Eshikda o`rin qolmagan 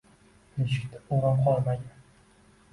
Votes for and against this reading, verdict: 2, 1, accepted